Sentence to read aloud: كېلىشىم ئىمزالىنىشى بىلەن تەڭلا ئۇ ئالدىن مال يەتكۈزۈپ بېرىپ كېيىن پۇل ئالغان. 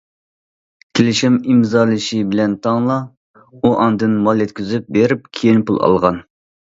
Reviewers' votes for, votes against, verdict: 0, 2, rejected